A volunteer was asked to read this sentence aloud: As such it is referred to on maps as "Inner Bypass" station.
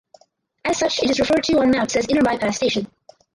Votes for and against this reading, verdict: 2, 4, rejected